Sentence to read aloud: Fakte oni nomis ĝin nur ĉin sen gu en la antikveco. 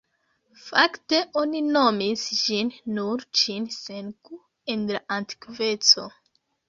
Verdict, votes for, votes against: rejected, 1, 2